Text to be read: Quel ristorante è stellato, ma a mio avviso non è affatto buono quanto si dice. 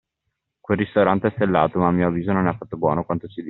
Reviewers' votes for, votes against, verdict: 2, 0, accepted